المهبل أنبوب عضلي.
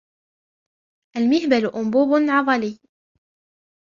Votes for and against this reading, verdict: 2, 0, accepted